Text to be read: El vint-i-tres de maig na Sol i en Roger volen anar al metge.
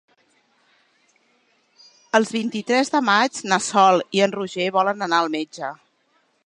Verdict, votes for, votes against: rejected, 1, 3